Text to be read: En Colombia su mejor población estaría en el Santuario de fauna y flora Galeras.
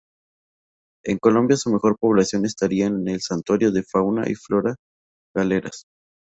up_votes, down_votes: 2, 0